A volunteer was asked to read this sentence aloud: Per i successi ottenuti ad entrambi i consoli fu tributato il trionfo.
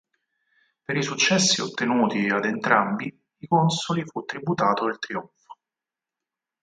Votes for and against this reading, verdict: 2, 4, rejected